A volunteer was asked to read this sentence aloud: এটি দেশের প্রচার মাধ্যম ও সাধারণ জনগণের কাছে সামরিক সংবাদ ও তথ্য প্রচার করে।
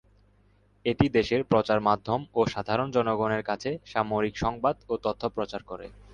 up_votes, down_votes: 2, 0